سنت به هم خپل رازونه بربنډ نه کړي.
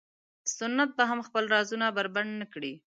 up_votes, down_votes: 5, 0